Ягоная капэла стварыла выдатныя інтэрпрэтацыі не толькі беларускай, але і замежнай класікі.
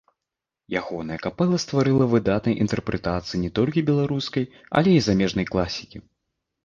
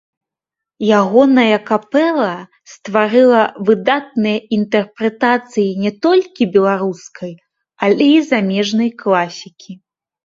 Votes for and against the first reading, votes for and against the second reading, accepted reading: 0, 2, 2, 1, second